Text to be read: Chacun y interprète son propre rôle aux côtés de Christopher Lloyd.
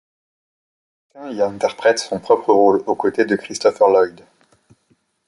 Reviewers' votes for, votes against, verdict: 1, 2, rejected